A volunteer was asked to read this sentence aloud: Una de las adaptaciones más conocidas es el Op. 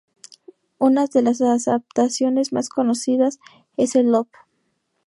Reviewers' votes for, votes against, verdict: 0, 2, rejected